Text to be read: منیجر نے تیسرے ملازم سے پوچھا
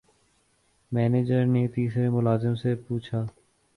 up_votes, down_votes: 2, 0